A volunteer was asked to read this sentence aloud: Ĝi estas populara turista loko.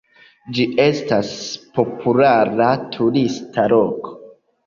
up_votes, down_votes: 2, 1